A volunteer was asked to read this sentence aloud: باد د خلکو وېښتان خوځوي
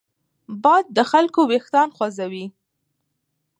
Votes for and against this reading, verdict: 1, 2, rejected